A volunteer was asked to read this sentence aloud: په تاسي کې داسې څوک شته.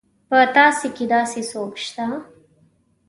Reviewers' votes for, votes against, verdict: 2, 0, accepted